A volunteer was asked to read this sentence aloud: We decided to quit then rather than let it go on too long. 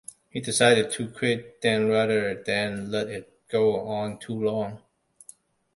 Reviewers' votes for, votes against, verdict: 2, 1, accepted